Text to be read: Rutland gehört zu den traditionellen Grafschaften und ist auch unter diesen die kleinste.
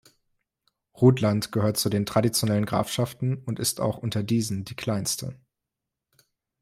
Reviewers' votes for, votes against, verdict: 3, 0, accepted